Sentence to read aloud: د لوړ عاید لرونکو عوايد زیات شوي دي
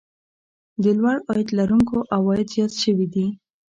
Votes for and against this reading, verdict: 2, 0, accepted